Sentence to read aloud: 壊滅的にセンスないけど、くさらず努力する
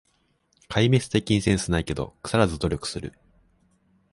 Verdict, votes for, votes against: accepted, 2, 0